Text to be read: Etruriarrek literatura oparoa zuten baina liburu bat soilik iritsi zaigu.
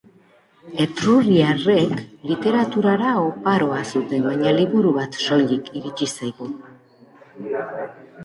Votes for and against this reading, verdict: 0, 2, rejected